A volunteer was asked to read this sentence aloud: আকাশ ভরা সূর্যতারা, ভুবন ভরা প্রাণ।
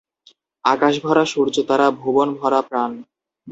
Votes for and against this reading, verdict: 2, 2, rejected